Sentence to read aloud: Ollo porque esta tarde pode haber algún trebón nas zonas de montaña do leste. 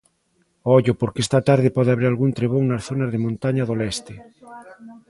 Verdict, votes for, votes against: rejected, 1, 2